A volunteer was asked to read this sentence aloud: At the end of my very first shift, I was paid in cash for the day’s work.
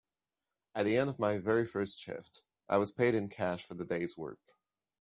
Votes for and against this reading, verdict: 2, 0, accepted